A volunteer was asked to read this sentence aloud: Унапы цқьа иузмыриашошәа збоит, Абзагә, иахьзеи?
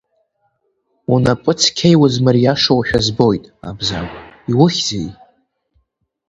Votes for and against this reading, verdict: 1, 2, rejected